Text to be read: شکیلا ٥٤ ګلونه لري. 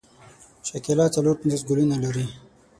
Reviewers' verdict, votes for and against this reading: rejected, 0, 2